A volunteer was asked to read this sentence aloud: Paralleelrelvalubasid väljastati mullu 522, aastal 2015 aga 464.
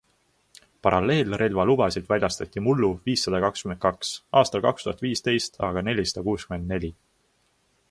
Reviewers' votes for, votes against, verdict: 0, 2, rejected